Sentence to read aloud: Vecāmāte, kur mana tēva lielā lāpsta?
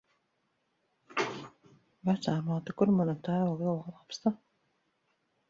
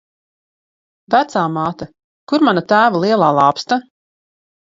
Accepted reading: second